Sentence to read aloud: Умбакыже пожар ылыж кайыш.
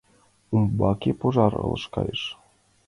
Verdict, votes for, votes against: accepted, 2, 1